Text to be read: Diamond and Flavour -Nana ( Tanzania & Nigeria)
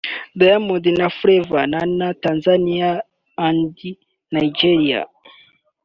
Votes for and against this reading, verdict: 0, 2, rejected